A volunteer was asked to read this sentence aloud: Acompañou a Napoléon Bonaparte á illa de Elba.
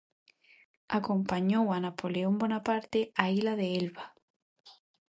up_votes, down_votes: 0, 2